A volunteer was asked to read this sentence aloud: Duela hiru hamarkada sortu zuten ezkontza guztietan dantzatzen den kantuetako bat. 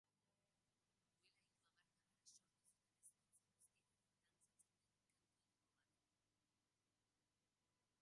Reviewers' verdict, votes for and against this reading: rejected, 0, 2